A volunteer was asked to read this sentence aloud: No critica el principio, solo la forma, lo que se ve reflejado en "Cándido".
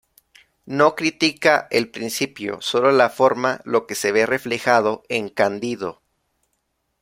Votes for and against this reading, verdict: 1, 2, rejected